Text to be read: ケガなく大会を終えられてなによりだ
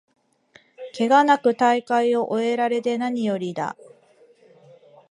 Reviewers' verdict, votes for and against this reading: accepted, 3, 0